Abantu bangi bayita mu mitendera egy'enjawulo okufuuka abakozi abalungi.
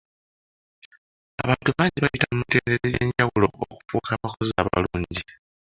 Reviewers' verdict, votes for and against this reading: rejected, 1, 2